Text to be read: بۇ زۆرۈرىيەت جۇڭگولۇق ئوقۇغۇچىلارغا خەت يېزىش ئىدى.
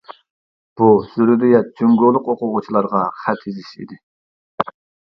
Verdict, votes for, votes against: rejected, 1, 2